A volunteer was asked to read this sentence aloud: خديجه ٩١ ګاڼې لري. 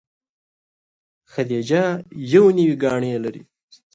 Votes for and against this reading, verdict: 0, 2, rejected